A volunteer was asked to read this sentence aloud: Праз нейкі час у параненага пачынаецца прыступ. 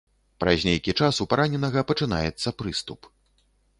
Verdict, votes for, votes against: accepted, 2, 0